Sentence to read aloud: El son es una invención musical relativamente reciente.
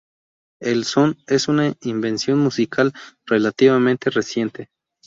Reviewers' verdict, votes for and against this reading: accepted, 2, 0